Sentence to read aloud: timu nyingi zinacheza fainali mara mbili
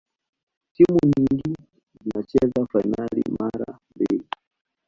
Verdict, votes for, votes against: rejected, 1, 2